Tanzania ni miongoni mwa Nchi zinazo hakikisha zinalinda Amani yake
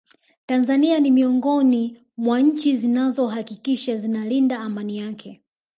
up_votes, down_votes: 1, 2